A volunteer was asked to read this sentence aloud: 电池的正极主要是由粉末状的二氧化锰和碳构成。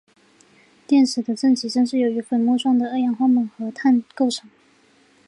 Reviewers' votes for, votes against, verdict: 2, 0, accepted